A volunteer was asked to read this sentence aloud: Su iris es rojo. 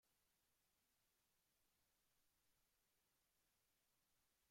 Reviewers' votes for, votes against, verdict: 0, 2, rejected